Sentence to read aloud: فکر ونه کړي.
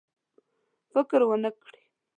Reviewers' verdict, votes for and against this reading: accepted, 2, 0